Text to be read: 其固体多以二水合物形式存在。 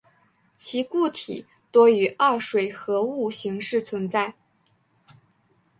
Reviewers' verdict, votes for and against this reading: accepted, 2, 0